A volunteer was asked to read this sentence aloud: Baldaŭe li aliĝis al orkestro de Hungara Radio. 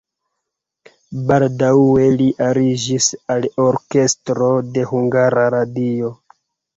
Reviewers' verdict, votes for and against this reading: accepted, 4, 2